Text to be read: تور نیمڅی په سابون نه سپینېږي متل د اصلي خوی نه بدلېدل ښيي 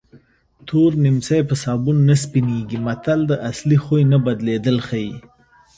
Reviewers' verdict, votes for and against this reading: rejected, 0, 2